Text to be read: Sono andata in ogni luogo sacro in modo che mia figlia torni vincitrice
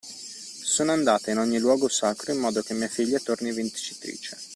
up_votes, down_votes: 2, 0